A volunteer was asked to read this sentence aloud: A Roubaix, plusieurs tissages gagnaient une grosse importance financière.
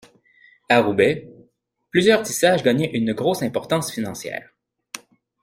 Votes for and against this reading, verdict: 2, 0, accepted